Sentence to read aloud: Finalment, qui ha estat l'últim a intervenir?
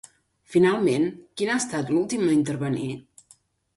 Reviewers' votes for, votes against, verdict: 0, 2, rejected